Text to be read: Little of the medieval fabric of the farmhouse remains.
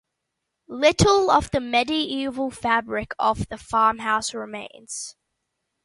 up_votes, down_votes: 2, 0